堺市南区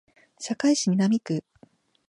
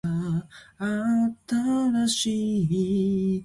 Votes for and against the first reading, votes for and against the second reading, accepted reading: 2, 0, 1, 3, first